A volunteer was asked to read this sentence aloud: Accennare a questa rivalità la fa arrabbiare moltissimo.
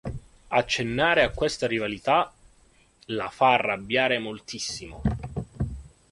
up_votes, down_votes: 2, 0